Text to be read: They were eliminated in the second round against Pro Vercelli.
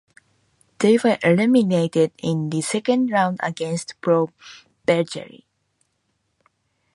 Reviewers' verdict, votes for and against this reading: accepted, 2, 0